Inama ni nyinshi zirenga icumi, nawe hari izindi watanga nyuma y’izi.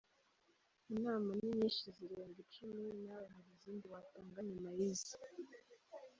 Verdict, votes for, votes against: rejected, 1, 2